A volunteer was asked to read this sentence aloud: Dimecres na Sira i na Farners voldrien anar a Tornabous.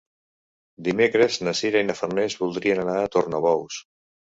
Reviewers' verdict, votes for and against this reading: accepted, 3, 0